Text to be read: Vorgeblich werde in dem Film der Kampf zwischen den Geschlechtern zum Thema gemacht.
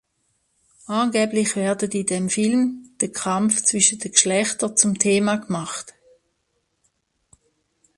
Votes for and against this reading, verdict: 0, 2, rejected